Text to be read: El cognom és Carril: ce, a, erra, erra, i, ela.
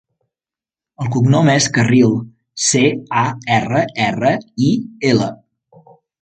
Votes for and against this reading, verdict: 2, 0, accepted